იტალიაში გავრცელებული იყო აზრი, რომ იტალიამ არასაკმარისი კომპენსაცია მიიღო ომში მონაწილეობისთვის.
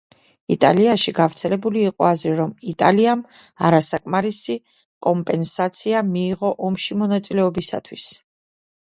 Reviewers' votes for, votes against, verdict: 0, 2, rejected